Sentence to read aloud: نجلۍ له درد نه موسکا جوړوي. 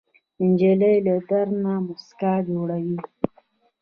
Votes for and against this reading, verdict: 2, 0, accepted